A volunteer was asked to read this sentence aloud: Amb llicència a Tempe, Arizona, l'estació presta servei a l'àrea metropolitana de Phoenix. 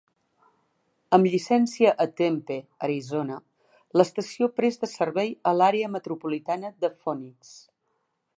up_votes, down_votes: 2, 1